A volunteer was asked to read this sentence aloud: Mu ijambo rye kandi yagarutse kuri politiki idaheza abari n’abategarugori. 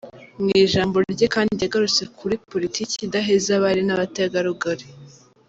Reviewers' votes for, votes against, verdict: 1, 2, rejected